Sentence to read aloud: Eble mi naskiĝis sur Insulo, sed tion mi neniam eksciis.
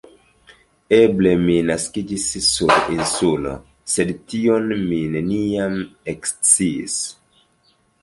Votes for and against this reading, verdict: 0, 2, rejected